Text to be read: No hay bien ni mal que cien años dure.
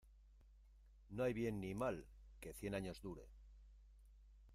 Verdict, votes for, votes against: rejected, 1, 2